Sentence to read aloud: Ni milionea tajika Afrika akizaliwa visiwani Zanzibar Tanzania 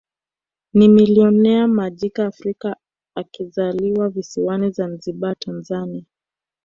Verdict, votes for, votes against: rejected, 1, 2